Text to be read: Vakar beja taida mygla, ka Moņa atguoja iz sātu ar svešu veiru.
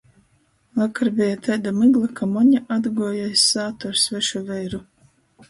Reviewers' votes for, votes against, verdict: 2, 0, accepted